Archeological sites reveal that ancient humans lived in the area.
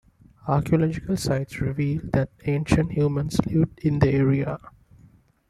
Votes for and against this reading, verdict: 2, 0, accepted